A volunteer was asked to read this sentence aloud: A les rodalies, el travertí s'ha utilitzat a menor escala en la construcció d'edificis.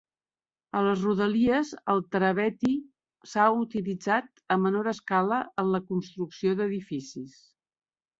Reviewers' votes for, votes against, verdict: 0, 2, rejected